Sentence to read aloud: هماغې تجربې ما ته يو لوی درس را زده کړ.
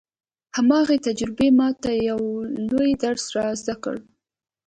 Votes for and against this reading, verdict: 3, 0, accepted